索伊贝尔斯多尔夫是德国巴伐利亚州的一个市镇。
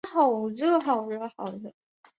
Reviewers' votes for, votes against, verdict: 1, 2, rejected